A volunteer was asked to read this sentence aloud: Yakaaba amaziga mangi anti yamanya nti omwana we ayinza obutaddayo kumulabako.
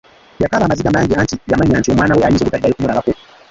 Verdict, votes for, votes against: rejected, 0, 2